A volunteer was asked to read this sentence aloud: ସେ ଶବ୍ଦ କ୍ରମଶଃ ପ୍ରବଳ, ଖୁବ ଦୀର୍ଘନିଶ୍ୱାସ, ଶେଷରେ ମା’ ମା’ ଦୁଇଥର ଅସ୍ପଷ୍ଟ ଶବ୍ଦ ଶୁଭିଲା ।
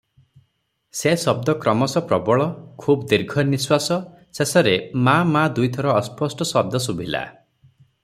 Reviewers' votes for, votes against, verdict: 6, 0, accepted